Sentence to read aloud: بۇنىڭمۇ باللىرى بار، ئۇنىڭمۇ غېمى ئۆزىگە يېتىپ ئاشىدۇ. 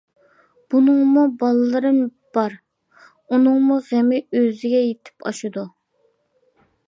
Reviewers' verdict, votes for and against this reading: rejected, 0, 2